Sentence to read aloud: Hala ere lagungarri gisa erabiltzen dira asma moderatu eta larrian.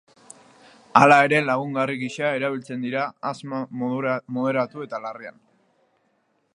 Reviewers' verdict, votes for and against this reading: rejected, 0, 2